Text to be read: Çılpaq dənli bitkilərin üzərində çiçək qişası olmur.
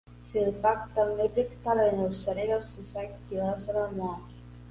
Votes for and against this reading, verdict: 1, 2, rejected